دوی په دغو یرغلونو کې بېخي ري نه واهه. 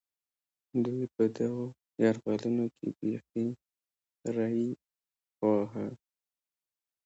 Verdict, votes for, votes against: rejected, 1, 2